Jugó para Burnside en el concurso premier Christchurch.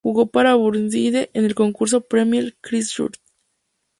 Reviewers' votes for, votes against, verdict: 2, 0, accepted